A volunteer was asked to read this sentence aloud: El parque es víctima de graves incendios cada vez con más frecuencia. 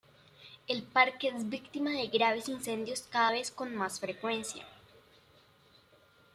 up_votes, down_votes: 2, 1